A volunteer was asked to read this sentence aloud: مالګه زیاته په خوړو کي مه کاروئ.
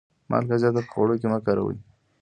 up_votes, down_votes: 1, 2